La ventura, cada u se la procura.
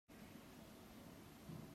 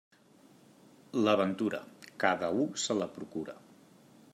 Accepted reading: second